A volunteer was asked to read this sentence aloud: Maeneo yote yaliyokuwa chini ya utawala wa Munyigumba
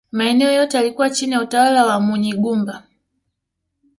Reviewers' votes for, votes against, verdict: 2, 0, accepted